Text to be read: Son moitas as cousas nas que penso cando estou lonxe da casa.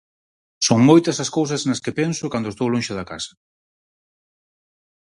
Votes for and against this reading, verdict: 4, 0, accepted